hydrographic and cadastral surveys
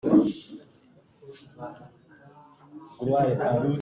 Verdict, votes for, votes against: rejected, 0, 2